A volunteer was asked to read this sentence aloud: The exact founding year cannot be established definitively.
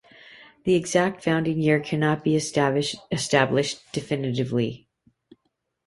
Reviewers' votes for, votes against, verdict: 0, 2, rejected